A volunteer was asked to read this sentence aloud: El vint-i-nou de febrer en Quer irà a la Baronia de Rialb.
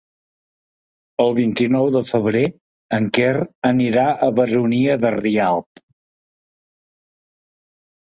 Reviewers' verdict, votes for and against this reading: rejected, 1, 3